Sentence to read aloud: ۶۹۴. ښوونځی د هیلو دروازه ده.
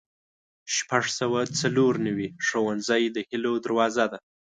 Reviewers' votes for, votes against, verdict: 0, 2, rejected